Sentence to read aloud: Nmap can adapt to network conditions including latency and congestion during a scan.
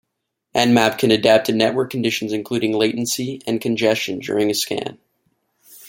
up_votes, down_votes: 2, 0